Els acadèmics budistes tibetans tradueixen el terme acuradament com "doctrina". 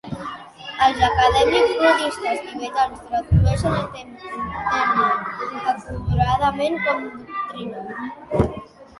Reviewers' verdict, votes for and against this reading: rejected, 0, 2